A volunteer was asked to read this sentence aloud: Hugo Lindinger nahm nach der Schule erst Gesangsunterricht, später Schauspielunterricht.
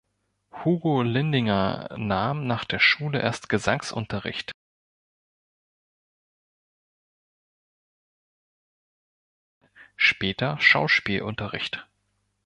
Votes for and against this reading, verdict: 1, 3, rejected